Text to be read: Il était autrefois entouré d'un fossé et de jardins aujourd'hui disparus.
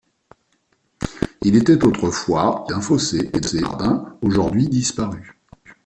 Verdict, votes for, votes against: rejected, 0, 2